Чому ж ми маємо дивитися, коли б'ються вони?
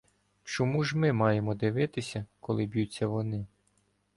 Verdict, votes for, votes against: accepted, 2, 0